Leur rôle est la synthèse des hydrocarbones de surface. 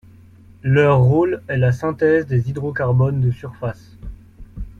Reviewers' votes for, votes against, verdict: 2, 0, accepted